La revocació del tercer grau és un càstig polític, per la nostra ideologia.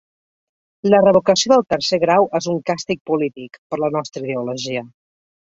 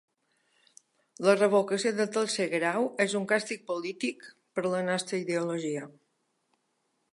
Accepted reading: first